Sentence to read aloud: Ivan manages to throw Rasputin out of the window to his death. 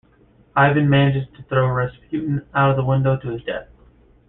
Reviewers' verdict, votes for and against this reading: accepted, 2, 1